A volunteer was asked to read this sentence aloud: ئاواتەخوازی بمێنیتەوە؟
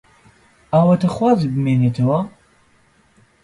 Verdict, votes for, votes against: accepted, 2, 0